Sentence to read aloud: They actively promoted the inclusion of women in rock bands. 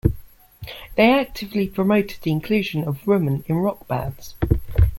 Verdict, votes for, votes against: accepted, 2, 0